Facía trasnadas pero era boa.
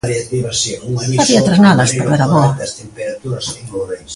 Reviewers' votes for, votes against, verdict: 0, 2, rejected